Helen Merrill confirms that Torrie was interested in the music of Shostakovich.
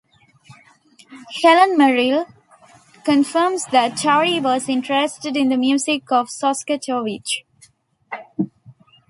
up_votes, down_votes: 2, 0